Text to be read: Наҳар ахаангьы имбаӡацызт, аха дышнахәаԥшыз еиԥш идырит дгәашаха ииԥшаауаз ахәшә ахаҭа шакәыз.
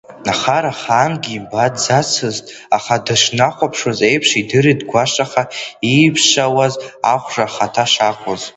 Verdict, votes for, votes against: rejected, 0, 2